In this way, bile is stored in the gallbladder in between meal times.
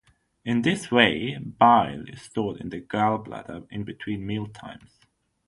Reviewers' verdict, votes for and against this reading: accepted, 6, 0